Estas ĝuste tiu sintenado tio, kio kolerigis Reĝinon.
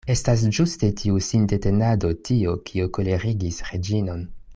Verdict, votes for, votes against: rejected, 1, 2